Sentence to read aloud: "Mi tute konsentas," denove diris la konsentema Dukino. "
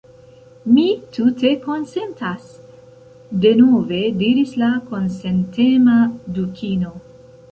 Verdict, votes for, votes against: accepted, 2, 0